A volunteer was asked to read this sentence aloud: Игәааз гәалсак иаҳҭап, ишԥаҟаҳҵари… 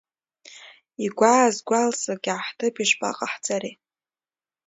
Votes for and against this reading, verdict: 2, 0, accepted